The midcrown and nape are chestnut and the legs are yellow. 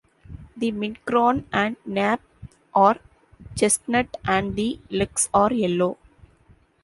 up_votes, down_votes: 2, 0